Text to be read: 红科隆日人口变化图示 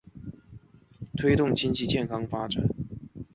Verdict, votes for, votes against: rejected, 0, 2